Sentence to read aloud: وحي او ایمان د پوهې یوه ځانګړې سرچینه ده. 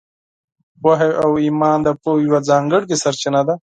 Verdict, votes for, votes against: accepted, 4, 0